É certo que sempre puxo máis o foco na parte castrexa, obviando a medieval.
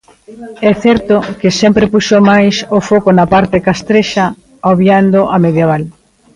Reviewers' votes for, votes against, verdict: 2, 0, accepted